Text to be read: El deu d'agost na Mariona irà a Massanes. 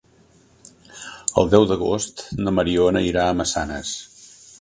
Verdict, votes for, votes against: accepted, 3, 0